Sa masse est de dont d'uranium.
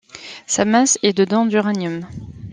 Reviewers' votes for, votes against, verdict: 2, 0, accepted